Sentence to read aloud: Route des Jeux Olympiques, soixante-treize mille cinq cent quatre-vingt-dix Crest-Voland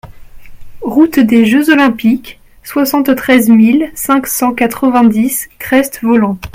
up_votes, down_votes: 2, 0